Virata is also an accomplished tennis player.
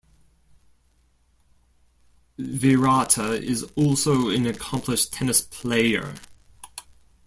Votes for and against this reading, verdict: 2, 0, accepted